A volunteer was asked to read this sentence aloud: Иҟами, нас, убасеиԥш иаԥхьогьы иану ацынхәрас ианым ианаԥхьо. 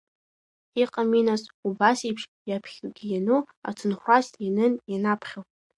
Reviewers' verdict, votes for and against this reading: accepted, 2, 0